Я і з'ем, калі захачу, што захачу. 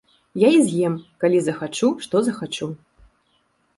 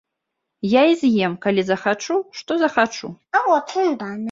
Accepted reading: first